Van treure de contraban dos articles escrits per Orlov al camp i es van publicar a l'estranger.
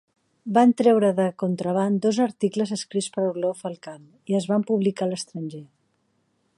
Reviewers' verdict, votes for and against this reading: accepted, 3, 0